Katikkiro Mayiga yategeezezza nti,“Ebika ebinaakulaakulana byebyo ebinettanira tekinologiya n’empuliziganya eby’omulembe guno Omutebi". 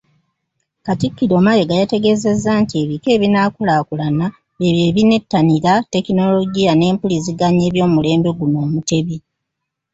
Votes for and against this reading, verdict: 2, 1, accepted